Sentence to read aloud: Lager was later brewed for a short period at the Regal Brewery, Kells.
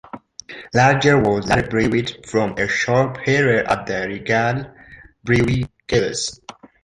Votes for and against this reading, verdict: 2, 1, accepted